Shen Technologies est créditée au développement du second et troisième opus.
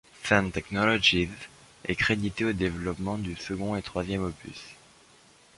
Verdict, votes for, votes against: accepted, 2, 0